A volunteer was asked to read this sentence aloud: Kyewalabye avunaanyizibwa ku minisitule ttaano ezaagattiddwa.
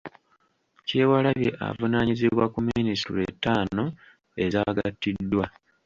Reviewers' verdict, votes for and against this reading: rejected, 1, 2